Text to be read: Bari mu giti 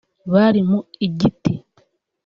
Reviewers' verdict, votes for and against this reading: accepted, 2, 0